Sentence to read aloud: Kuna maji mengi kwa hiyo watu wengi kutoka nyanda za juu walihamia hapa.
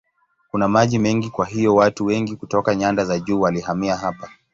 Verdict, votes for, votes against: accepted, 5, 1